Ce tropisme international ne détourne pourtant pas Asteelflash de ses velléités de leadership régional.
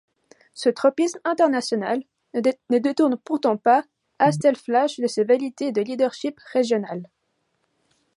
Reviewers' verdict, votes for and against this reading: rejected, 0, 2